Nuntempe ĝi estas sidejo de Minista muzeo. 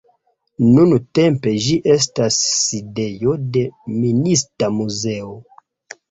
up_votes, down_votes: 2, 0